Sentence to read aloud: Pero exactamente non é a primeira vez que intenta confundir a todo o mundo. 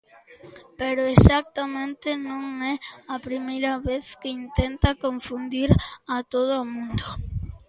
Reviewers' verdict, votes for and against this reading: accepted, 2, 0